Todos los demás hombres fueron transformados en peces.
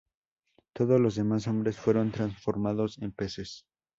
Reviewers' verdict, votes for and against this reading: accepted, 2, 0